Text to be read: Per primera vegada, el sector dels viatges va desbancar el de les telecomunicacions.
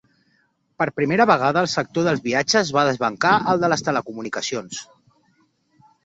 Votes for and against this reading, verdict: 2, 0, accepted